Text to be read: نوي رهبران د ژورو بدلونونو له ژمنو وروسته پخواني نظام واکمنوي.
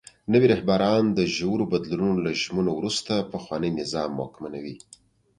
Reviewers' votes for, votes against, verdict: 2, 0, accepted